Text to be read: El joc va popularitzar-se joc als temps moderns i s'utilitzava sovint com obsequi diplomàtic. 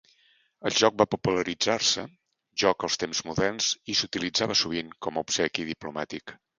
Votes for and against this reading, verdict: 2, 0, accepted